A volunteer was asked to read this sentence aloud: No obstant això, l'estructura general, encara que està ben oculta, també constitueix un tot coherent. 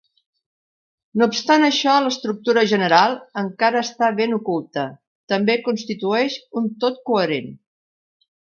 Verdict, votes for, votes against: rejected, 0, 2